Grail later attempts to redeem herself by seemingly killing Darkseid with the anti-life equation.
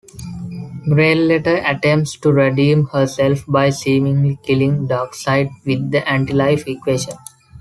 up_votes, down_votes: 2, 0